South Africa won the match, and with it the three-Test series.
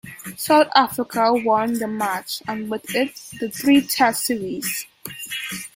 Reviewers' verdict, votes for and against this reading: accepted, 2, 0